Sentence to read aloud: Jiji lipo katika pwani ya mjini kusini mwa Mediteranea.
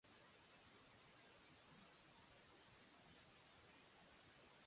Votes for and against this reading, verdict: 1, 2, rejected